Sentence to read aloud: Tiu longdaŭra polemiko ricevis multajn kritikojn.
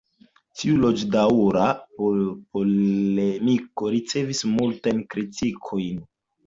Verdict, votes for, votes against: rejected, 1, 2